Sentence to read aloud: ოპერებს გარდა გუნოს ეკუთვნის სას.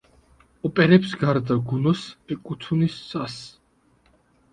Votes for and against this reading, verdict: 2, 1, accepted